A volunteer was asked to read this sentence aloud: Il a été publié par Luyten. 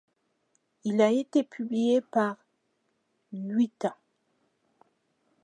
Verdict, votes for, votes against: rejected, 1, 2